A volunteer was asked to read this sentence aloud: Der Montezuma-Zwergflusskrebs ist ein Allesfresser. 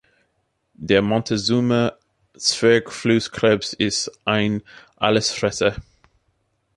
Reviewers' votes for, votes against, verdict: 2, 0, accepted